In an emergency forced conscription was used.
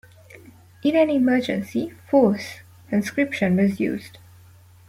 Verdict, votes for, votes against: accepted, 2, 0